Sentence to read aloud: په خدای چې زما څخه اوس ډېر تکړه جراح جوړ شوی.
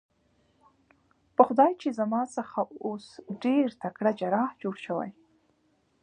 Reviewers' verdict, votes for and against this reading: rejected, 1, 2